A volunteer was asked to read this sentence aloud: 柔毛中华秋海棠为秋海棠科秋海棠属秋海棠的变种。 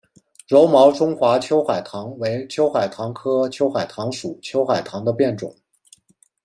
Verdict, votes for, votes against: accepted, 2, 0